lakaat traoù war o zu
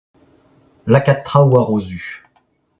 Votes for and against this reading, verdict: 0, 2, rejected